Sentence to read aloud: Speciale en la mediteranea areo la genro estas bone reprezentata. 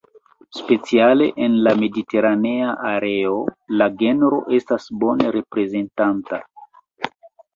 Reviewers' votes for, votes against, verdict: 1, 2, rejected